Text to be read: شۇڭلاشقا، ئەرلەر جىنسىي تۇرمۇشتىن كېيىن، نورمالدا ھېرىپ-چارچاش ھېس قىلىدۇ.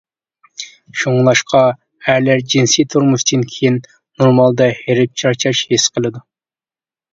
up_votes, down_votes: 2, 0